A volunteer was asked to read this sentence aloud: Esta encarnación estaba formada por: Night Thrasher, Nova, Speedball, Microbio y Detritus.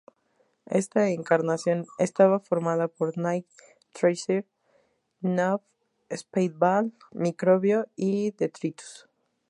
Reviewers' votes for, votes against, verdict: 4, 0, accepted